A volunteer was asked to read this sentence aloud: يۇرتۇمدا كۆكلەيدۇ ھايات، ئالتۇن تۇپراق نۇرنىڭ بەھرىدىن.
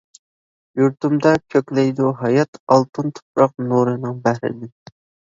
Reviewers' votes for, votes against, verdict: 1, 2, rejected